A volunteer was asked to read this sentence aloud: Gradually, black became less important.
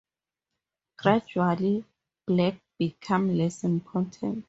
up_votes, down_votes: 2, 0